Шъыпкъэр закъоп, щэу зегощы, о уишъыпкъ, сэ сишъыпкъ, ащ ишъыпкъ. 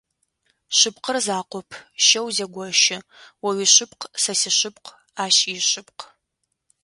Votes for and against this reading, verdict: 2, 0, accepted